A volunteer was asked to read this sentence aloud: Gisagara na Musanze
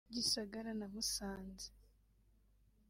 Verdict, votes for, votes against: rejected, 1, 2